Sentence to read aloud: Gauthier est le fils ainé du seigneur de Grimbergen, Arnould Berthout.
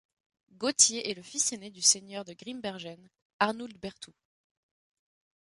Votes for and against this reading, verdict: 1, 2, rejected